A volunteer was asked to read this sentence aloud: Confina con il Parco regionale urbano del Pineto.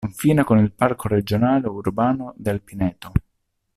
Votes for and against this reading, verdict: 2, 0, accepted